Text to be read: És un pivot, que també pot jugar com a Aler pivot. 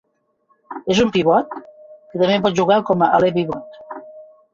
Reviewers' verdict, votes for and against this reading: rejected, 1, 2